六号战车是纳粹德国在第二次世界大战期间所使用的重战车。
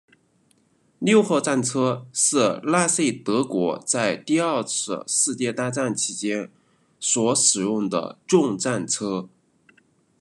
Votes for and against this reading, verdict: 2, 0, accepted